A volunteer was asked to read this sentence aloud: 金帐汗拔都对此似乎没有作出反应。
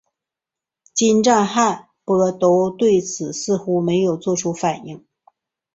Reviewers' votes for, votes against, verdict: 2, 0, accepted